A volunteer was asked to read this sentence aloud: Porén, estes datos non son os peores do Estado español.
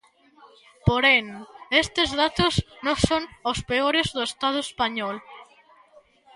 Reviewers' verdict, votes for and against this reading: accepted, 2, 0